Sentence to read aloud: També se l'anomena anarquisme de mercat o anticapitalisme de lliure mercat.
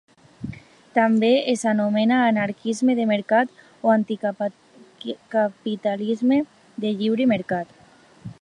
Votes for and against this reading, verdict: 1, 2, rejected